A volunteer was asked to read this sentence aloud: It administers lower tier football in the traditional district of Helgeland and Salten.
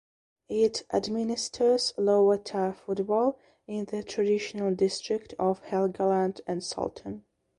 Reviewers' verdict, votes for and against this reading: rejected, 0, 2